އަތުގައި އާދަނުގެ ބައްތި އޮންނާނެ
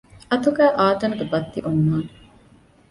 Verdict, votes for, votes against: accepted, 2, 0